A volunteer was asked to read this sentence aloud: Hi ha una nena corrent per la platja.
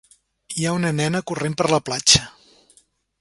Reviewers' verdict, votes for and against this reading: accepted, 2, 0